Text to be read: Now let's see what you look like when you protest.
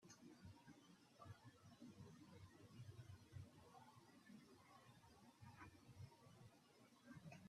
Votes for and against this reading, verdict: 0, 2, rejected